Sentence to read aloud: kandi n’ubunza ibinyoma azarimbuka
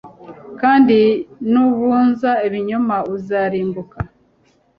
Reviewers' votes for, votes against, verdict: 0, 2, rejected